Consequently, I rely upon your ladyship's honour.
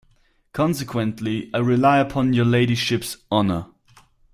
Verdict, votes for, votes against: accepted, 4, 0